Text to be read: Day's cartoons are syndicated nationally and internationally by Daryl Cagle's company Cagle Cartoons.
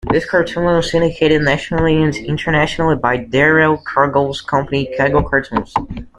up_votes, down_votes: 0, 2